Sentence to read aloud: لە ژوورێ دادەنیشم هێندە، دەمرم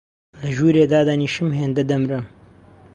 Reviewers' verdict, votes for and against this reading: accepted, 2, 0